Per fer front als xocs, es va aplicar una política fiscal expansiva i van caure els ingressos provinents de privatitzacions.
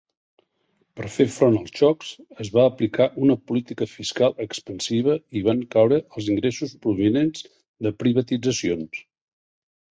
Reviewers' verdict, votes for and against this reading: accepted, 2, 0